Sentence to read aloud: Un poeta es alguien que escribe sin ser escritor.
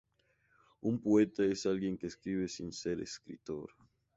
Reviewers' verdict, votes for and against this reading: accepted, 2, 0